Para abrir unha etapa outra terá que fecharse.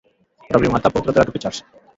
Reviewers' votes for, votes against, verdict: 0, 3, rejected